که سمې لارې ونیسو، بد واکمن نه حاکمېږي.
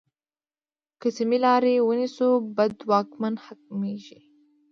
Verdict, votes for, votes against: accepted, 2, 0